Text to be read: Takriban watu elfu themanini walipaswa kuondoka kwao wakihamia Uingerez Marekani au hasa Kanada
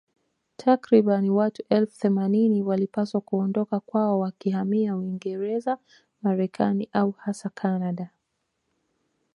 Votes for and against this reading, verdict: 3, 0, accepted